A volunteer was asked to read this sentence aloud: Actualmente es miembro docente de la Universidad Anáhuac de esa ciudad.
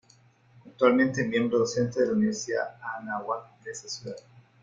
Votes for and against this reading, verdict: 2, 0, accepted